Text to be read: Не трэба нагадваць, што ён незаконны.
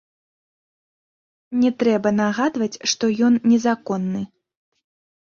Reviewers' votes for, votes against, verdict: 1, 2, rejected